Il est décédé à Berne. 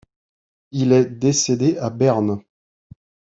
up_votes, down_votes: 2, 0